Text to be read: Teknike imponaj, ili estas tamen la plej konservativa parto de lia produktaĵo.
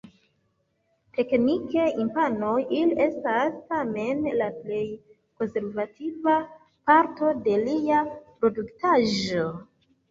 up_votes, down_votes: 2, 1